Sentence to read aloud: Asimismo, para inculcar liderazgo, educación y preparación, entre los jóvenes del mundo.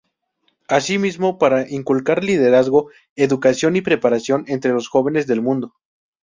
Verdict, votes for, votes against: accepted, 2, 0